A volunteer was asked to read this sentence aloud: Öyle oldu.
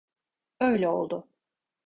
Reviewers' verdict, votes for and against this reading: accepted, 2, 0